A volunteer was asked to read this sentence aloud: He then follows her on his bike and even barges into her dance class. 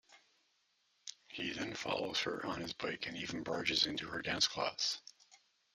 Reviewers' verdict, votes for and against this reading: accepted, 2, 0